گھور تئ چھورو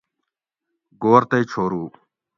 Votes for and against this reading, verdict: 2, 0, accepted